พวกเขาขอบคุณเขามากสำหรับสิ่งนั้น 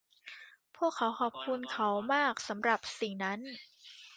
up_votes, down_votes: 2, 1